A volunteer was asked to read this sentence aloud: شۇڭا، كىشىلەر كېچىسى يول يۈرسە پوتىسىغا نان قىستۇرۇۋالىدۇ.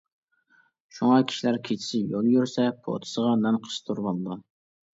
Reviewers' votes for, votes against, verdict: 2, 1, accepted